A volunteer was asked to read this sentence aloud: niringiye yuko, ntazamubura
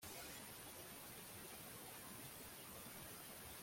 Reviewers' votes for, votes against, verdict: 0, 2, rejected